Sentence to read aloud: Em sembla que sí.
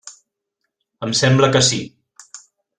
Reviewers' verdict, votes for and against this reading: accepted, 3, 0